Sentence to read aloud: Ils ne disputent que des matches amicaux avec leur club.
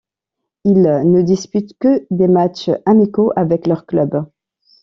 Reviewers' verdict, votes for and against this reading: rejected, 0, 2